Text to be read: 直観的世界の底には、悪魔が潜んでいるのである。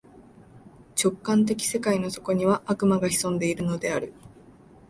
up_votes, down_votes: 14, 0